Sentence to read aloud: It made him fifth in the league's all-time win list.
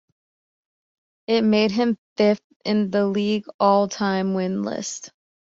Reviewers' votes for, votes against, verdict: 0, 2, rejected